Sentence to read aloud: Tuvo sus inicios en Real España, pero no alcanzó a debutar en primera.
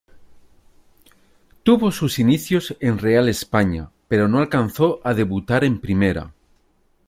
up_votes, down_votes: 2, 0